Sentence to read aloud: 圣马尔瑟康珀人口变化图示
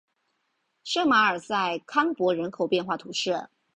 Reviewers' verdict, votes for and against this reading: accepted, 3, 0